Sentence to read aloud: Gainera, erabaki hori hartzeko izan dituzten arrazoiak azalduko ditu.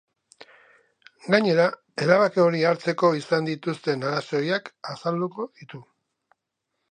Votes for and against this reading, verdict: 2, 0, accepted